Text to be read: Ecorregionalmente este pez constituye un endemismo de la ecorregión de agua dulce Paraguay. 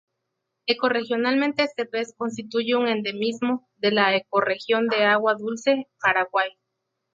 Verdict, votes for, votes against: accepted, 2, 0